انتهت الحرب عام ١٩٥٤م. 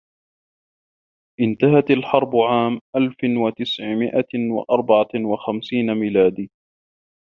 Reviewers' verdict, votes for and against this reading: rejected, 0, 2